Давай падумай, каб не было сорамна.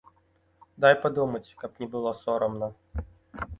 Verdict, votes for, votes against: accepted, 3, 0